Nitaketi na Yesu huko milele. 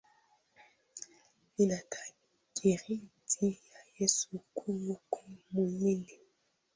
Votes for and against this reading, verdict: 1, 2, rejected